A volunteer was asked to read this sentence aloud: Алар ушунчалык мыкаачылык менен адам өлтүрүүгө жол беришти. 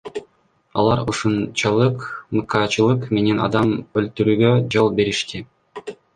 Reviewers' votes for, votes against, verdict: 1, 2, rejected